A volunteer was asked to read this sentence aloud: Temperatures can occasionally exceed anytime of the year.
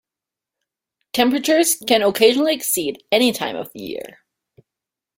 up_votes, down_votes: 3, 0